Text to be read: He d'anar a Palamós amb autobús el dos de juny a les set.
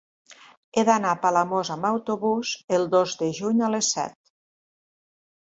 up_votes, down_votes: 4, 0